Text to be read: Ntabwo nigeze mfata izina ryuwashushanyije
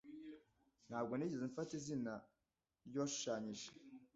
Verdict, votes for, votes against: accepted, 2, 0